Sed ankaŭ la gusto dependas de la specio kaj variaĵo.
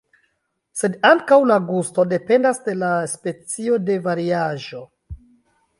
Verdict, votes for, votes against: accepted, 2, 1